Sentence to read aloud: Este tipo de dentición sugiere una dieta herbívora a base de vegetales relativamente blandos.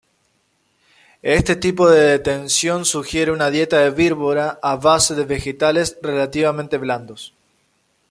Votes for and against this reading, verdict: 0, 2, rejected